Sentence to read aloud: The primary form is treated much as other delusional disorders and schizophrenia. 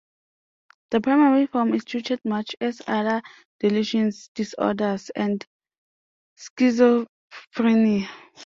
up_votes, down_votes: 0, 2